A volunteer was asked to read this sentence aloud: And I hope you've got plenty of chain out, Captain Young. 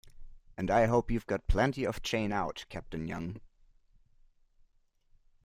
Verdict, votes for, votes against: accepted, 2, 0